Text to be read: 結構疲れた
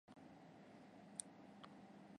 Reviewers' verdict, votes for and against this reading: rejected, 0, 2